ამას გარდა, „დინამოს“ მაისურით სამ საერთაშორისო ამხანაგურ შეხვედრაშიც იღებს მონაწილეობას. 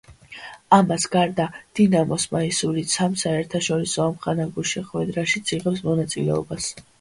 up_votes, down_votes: 2, 0